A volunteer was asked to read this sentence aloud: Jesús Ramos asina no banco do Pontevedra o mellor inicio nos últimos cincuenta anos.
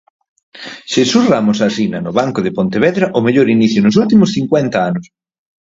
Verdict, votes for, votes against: rejected, 0, 4